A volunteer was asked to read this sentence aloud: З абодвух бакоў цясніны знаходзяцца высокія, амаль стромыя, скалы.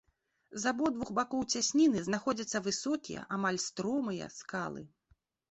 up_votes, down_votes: 2, 0